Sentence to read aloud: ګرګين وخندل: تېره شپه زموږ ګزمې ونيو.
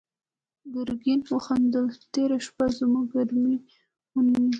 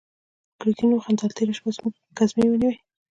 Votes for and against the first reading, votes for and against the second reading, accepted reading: 2, 0, 0, 2, first